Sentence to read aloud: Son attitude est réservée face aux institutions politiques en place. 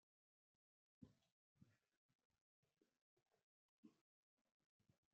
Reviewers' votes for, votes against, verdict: 0, 2, rejected